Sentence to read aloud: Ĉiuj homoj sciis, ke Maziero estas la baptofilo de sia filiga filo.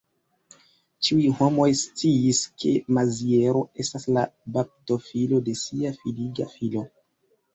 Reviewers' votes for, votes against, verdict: 0, 2, rejected